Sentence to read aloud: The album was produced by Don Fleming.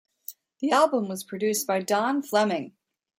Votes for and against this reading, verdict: 2, 0, accepted